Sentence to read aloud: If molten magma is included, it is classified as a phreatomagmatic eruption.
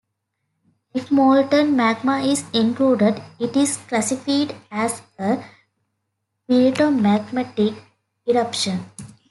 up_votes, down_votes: 0, 2